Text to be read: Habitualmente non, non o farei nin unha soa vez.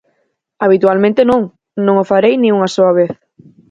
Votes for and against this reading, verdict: 4, 0, accepted